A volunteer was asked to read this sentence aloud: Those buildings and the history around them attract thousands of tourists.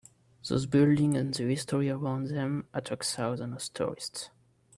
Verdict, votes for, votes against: accepted, 4, 0